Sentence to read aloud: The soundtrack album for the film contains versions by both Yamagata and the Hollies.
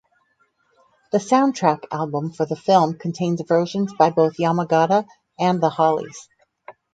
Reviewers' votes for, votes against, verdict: 4, 0, accepted